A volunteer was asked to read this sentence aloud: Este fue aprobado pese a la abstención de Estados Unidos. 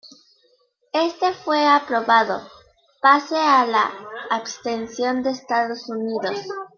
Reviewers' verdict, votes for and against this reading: rejected, 0, 2